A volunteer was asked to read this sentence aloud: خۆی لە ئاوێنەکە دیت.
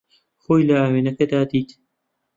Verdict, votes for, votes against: rejected, 1, 2